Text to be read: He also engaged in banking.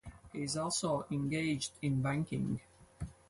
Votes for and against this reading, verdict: 0, 2, rejected